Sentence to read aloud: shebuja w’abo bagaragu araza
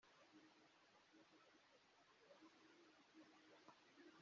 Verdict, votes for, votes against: rejected, 0, 2